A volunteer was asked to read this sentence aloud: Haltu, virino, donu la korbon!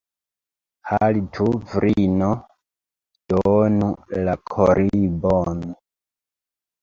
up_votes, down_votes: 0, 2